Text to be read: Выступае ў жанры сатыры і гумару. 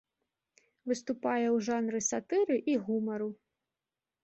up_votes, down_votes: 3, 0